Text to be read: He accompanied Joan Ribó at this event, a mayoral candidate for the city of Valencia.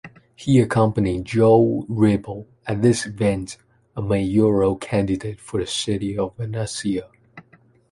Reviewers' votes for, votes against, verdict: 2, 1, accepted